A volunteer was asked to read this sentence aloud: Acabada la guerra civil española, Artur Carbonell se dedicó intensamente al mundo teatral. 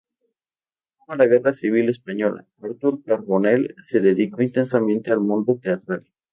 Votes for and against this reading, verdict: 0, 2, rejected